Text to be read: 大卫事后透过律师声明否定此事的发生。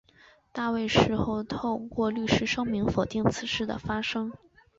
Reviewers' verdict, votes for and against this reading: accepted, 3, 0